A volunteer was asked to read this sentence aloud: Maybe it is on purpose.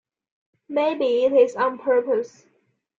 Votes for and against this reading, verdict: 2, 0, accepted